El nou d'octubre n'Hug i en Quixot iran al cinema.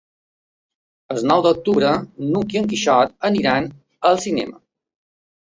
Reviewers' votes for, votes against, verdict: 2, 1, accepted